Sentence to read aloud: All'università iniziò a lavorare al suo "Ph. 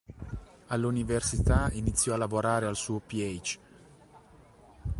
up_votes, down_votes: 2, 0